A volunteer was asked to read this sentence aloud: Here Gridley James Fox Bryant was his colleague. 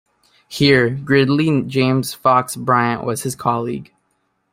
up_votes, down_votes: 2, 0